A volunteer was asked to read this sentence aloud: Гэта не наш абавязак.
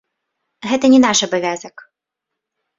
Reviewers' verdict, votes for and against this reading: rejected, 0, 2